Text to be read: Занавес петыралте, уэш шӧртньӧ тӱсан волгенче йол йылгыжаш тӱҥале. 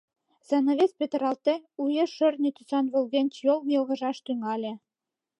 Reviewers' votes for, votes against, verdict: 2, 0, accepted